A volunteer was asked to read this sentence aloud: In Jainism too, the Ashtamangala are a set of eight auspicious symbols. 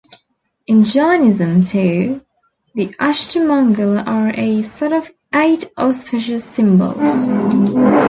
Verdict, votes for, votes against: accepted, 2, 0